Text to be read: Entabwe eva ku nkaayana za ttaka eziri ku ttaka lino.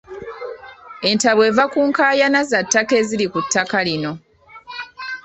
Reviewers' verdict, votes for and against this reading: accepted, 2, 0